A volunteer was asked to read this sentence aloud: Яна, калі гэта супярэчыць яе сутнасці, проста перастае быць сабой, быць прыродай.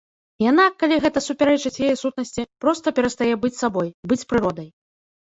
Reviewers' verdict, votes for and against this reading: accepted, 2, 0